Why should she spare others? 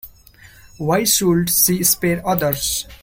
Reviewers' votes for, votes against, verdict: 2, 1, accepted